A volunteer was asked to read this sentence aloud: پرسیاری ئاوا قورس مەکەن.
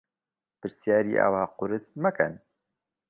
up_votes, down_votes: 2, 0